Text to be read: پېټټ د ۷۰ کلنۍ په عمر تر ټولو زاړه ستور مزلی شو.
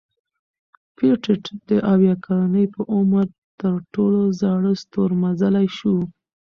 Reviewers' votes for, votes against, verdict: 0, 2, rejected